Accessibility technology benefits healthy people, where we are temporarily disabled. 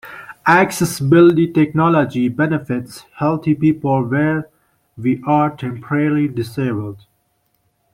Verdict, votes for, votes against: accepted, 2, 0